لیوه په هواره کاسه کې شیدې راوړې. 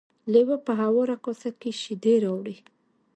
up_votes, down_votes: 2, 0